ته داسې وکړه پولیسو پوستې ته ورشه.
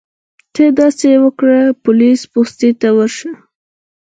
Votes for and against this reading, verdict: 0, 4, rejected